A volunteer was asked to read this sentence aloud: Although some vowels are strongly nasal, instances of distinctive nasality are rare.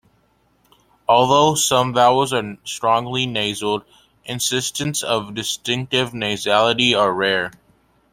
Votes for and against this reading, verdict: 1, 2, rejected